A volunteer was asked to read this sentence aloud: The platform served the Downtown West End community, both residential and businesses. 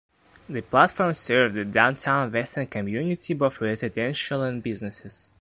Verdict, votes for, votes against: rejected, 0, 2